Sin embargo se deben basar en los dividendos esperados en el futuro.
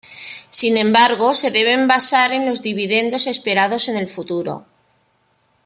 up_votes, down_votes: 0, 2